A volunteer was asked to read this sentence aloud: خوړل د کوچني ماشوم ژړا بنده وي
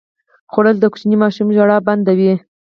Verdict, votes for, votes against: rejected, 2, 4